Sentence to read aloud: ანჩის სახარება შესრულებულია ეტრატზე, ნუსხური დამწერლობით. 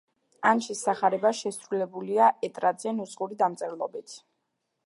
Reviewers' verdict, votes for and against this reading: accepted, 2, 0